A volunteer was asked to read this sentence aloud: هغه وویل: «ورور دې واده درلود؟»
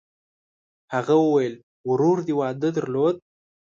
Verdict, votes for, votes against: accepted, 2, 0